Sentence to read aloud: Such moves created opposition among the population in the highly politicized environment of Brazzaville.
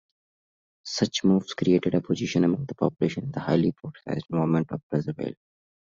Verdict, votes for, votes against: rejected, 0, 2